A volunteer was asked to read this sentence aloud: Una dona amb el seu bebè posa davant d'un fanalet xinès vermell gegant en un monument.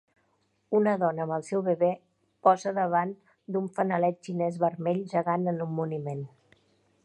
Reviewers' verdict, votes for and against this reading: rejected, 1, 2